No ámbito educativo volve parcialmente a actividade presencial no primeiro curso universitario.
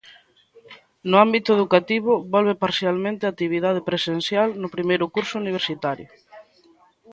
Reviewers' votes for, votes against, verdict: 2, 0, accepted